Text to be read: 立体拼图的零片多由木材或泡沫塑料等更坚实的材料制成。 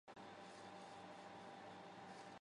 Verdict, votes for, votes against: rejected, 1, 3